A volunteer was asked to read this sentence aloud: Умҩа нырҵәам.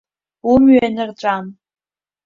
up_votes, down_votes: 1, 2